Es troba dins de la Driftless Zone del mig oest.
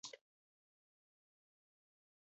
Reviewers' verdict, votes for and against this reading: rejected, 0, 2